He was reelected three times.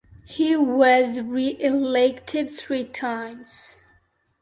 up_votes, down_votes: 2, 0